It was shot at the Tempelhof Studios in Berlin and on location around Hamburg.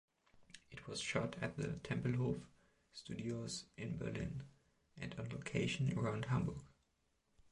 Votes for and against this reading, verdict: 2, 0, accepted